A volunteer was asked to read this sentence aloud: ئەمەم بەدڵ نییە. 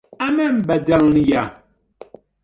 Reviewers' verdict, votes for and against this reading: rejected, 1, 2